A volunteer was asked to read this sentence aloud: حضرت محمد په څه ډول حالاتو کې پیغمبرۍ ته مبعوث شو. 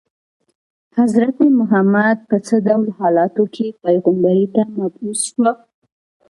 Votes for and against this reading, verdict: 2, 1, accepted